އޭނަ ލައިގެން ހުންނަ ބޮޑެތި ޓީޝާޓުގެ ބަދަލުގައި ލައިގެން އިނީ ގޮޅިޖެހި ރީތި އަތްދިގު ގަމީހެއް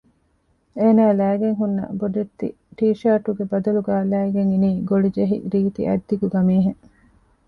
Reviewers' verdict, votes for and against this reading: rejected, 1, 2